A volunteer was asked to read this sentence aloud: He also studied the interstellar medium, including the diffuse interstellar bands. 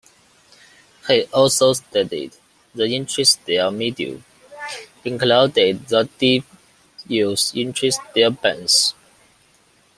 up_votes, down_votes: 0, 2